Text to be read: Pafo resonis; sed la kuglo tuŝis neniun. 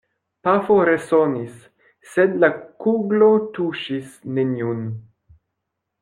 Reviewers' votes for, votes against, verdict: 1, 2, rejected